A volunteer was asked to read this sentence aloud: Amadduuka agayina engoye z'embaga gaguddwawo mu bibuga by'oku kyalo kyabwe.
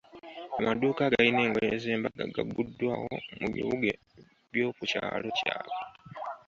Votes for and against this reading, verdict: 2, 3, rejected